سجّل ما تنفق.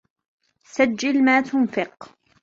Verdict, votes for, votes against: accepted, 2, 1